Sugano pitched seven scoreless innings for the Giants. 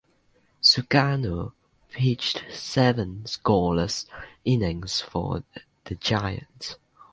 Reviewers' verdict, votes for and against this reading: accepted, 2, 0